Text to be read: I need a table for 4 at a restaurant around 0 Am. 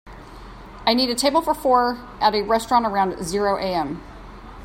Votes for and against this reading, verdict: 0, 2, rejected